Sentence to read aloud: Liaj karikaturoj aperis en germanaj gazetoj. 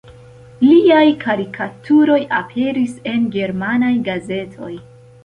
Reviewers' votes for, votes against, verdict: 2, 0, accepted